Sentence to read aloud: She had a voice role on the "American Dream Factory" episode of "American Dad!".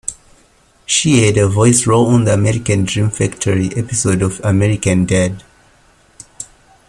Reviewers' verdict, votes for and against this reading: accepted, 2, 0